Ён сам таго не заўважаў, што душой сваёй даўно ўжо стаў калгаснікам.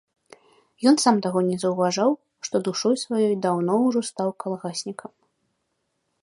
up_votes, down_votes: 3, 0